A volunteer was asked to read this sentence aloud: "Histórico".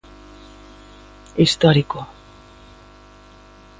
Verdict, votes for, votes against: accepted, 2, 1